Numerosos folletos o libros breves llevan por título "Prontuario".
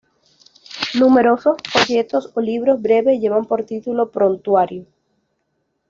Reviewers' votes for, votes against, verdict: 2, 0, accepted